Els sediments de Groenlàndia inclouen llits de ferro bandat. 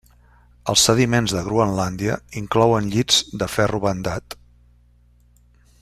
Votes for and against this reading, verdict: 3, 0, accepted